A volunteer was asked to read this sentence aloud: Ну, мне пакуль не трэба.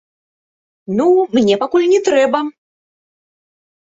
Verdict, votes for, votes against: rejected, 0, 2